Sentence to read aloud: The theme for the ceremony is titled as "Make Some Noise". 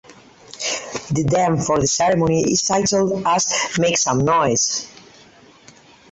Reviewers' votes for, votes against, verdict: 4, 2, accepted